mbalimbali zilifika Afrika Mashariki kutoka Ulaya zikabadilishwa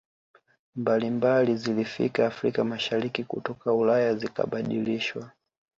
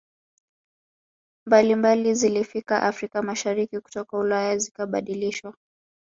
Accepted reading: first